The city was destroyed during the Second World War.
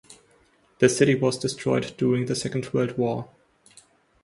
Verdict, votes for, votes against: accepted, 2, 0